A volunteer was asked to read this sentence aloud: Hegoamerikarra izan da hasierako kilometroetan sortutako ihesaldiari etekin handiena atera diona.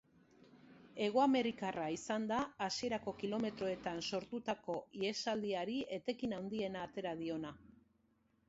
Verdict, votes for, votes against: accepted, 2, 0